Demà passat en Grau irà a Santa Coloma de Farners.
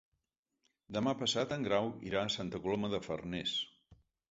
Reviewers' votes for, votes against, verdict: 3, 0, accepted